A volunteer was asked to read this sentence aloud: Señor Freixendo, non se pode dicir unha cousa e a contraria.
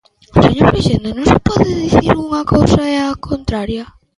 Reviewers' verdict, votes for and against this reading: rejected, 0, 2